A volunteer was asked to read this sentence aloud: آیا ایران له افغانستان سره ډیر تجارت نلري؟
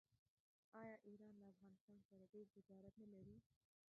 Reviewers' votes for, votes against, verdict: 0, 2, rejected